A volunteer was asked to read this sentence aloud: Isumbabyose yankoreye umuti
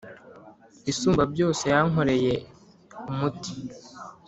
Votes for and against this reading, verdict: 2, 0, accepted